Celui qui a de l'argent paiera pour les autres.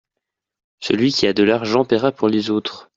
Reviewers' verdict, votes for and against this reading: accepted, 2, 0